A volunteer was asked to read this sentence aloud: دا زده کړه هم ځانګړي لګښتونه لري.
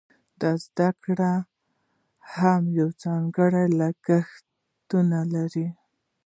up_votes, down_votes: 2, 0